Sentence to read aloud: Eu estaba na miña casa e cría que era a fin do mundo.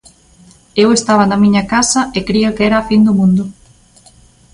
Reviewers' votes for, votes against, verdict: 2, 0, accepted